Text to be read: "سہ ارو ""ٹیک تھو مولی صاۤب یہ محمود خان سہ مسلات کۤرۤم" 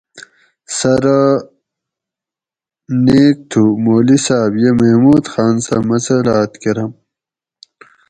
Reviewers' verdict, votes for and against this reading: rejected, 2, 2